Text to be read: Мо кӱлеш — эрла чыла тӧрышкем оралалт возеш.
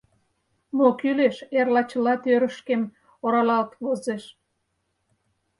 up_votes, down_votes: 4, 2